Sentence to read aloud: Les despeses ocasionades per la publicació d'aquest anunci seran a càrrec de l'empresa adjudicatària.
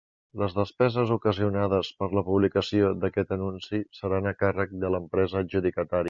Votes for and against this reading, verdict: 1, 2, rejected